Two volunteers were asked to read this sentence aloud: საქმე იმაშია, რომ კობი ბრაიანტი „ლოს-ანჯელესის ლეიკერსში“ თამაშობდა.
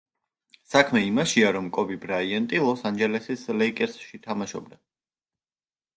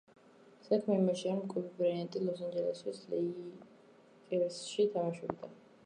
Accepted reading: first